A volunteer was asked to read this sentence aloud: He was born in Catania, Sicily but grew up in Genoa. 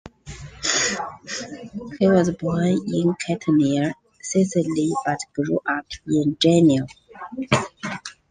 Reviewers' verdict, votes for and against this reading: rejected, 1, 2